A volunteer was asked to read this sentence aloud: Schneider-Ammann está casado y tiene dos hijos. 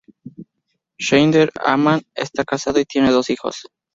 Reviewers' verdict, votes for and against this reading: rejected, 0, 2